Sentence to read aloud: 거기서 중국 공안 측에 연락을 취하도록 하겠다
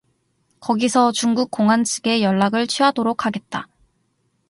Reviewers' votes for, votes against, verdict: 0, 2, rejected